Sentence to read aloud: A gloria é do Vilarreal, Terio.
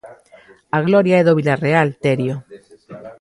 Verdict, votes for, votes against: accepted, 2, 1